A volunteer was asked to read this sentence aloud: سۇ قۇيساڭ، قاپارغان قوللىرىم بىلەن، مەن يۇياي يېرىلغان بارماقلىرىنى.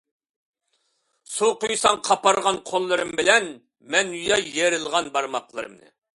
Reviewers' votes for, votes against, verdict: 1, 2, rejected